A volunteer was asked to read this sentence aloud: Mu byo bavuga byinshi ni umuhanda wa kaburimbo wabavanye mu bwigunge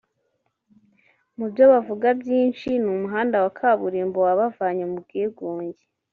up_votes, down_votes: 1, 2